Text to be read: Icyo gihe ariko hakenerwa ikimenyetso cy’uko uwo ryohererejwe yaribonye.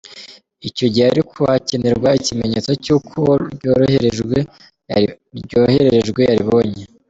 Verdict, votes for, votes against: rejected, 0, 2